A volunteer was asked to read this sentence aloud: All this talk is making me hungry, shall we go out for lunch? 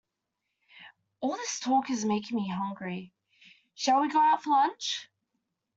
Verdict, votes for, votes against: accepted, 2, 1